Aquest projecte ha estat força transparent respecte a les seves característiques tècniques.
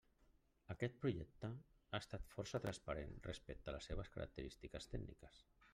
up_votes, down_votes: 3, 0